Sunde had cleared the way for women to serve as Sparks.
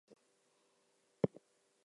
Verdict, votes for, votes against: rejected, 0, 2